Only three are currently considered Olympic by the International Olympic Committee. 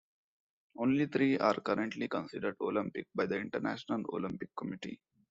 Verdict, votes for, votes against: accepted, 2, 0